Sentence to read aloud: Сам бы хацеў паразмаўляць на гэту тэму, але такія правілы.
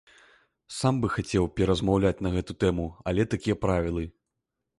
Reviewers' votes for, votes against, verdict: 1, 2, rejected